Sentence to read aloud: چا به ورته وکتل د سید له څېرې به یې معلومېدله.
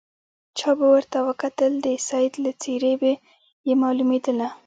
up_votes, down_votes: 2, 3